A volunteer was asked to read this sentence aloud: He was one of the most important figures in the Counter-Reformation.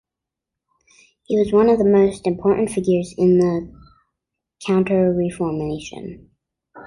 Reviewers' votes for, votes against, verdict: 2, 0, accepted